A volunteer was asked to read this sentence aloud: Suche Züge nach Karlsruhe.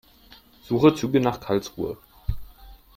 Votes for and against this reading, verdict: 3, 0, accepted